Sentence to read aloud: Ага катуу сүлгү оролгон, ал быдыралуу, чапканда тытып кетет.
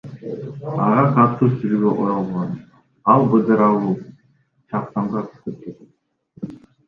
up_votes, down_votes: 0, 2